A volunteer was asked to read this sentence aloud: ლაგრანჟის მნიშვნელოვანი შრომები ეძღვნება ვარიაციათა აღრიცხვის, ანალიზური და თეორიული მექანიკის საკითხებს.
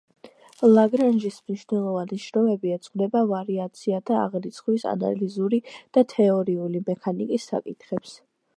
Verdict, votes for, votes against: accepted, 2, 0